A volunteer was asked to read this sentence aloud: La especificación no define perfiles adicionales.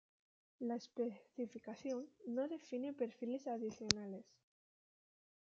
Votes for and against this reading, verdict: 2, 0, accepted